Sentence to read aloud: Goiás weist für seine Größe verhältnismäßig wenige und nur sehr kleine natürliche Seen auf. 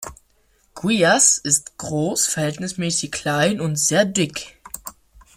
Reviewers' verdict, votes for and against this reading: rejected, 0, 2